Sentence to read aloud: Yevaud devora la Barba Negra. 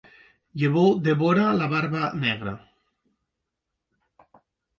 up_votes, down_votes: 2, 1